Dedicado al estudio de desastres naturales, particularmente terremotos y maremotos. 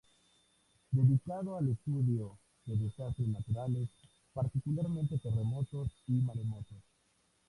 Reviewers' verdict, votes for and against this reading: rejected, 2, 2